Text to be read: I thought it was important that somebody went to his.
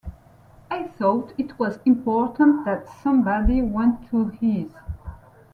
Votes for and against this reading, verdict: 2, 0, accepted